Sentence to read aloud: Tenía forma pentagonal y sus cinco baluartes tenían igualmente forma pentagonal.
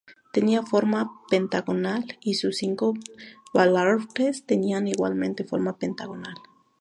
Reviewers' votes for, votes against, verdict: 2, 0, accepted